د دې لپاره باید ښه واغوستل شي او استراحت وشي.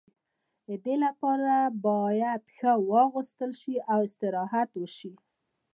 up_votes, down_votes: 1, 2